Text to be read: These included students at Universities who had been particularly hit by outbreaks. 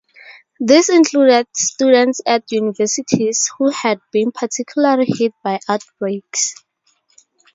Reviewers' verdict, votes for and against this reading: rejected, 2, 2